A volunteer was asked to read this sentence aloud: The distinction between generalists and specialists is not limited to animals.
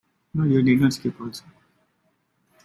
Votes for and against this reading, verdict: 0, 2, rejected